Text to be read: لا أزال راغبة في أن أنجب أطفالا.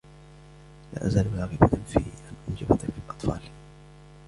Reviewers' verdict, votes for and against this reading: accepted, 2, 0